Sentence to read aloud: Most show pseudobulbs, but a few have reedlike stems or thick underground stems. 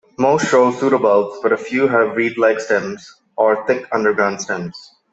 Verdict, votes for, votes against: rejected, 1, 2